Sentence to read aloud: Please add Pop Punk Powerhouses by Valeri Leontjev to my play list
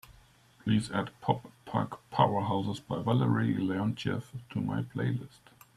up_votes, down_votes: 2, 0